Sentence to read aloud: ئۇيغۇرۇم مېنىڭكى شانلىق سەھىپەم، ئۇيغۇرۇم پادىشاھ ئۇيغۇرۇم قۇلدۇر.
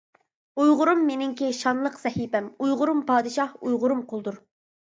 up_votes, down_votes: 3, 0